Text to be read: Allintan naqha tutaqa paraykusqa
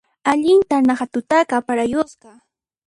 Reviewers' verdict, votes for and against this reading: rejected, 1, 2